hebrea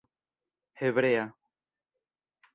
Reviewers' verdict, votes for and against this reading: rejected, 1, 2